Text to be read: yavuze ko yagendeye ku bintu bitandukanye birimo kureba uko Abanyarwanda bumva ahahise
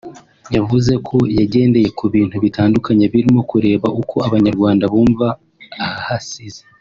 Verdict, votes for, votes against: rejected, 0, 2